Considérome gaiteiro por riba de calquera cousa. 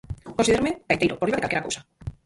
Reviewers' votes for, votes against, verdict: 0, 4, rejected